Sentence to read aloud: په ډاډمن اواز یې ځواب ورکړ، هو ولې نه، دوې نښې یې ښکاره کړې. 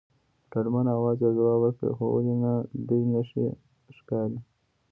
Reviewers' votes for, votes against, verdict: 1, 2, rejected